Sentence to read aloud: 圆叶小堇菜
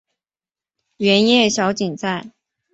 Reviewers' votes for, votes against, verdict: 2, 3, rejected